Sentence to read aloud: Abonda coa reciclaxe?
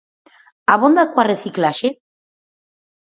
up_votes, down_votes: 4, 0